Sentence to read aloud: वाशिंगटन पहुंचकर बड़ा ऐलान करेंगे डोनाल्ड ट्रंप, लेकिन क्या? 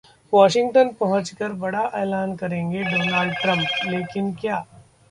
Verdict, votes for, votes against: accepted, 2, 0